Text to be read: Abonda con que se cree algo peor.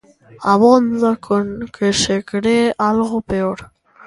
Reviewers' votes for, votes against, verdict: 1, 2, rejected